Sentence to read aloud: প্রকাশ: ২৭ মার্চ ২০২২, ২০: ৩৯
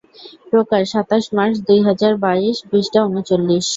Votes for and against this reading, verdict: 0, 2, rejected